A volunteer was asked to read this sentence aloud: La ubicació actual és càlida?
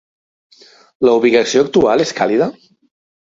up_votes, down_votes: 3, 0